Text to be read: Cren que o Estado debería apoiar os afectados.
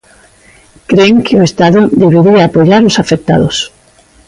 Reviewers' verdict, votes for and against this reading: accepted, 2, 0